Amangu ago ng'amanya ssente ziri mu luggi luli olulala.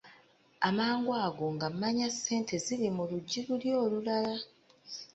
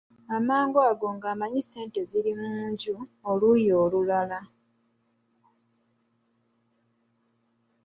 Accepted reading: first